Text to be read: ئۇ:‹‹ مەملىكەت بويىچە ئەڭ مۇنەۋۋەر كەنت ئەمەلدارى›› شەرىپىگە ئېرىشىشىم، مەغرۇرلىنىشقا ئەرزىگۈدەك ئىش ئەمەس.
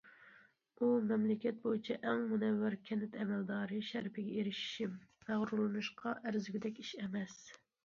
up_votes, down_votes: 2, 0